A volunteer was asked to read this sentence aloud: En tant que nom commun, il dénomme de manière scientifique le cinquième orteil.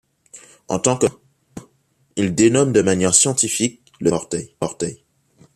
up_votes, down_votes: 0, 2